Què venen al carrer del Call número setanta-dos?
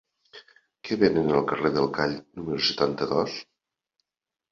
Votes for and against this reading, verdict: 3, 1, accepted